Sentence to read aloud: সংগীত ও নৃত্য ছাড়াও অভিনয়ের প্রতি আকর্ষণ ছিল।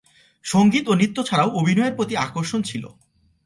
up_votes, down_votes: 2, 0